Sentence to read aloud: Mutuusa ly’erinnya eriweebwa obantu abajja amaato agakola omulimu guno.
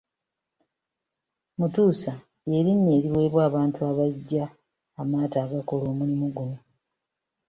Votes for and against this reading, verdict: 2, 0, accepted